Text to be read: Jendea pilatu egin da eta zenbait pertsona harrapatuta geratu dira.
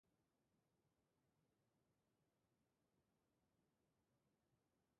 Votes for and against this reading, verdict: 0, 2, rejected